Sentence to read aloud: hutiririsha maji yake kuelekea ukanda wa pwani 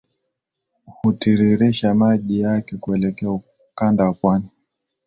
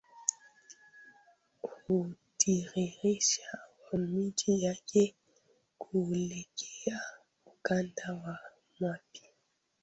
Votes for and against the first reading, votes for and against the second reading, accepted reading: 2, 0, 1, 2, first